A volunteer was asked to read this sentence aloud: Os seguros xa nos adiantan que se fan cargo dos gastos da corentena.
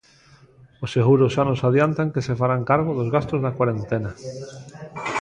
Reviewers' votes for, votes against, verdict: 0, 2, rejected